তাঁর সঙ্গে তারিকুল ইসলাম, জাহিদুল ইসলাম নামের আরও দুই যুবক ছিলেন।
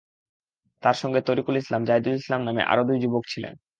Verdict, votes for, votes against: accepted, 2, 0